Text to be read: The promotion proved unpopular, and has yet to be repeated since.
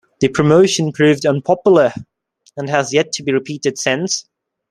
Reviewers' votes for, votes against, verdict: 2, 0, accepted